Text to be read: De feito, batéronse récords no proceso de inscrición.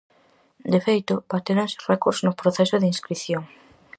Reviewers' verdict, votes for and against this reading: accepted, 4, 0